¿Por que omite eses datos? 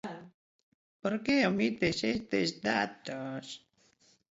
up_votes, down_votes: 1, 2